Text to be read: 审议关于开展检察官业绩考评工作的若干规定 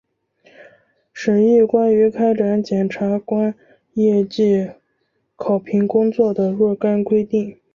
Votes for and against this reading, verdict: 4, 0, accepted